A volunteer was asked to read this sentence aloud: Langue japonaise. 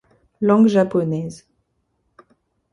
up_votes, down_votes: 2, 0